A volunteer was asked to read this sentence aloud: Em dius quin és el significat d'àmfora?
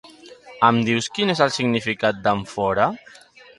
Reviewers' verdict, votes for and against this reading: rejected, 0, 2